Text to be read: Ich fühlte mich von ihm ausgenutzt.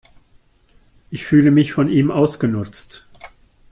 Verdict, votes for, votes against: rejected, 0, 2